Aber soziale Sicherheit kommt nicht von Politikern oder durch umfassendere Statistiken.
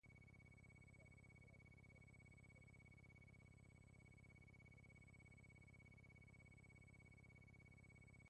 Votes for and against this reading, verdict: 0, 2, rejected